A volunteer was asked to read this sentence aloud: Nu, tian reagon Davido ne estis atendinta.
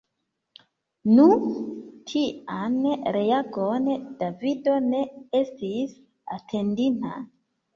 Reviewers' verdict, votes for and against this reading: rejected, 0, 2